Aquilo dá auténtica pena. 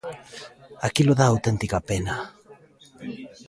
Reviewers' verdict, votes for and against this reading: rejected, 1, 2